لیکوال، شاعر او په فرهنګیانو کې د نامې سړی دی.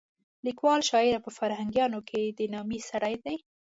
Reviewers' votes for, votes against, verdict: 2, 0, accepted